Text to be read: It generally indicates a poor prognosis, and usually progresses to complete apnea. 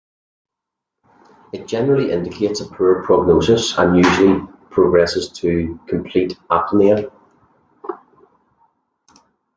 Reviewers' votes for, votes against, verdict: 3, 1, accepted